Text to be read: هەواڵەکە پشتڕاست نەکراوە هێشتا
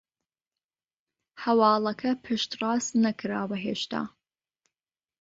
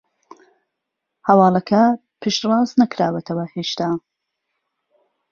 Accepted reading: first